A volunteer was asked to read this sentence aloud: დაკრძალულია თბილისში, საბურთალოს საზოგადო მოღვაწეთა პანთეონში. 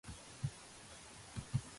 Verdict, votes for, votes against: rejected, 0, 2